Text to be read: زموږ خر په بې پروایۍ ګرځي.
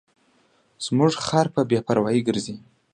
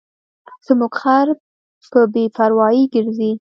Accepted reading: first